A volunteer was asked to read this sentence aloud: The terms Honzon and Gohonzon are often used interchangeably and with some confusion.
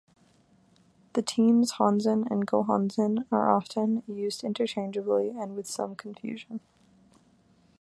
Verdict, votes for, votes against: rejected, 0, 2